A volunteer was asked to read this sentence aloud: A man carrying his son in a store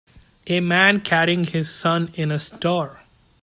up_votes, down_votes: 2, 0